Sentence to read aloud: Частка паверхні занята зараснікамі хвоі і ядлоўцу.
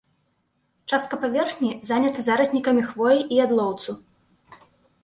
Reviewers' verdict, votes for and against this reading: accepted, 2, 1